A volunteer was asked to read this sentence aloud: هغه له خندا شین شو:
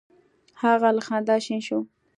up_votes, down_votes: 2, 0